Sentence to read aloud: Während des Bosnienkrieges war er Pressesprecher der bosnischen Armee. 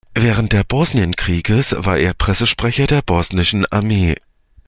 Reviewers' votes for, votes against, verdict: 0, 2, rejected